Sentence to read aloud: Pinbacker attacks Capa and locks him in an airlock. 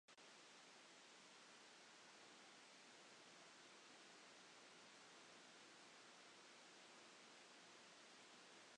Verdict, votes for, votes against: rejected, 0, 2